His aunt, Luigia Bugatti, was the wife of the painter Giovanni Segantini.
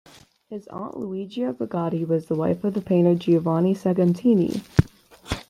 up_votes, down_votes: 2, 0